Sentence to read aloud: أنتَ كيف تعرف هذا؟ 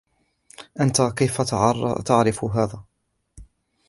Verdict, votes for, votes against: rejected, 0, 2